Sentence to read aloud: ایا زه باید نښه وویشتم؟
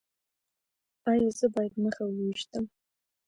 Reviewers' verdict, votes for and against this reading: accepted, 2, 1